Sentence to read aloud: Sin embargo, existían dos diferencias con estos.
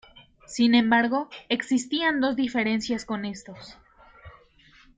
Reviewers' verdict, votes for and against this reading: accepted, 2, 0